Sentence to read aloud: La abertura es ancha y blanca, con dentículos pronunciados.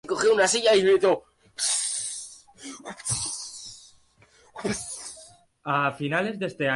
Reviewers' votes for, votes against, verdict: 0, 2, rejected